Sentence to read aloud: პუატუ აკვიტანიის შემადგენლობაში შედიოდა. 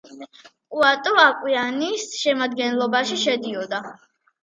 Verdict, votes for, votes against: accepted, 2, 0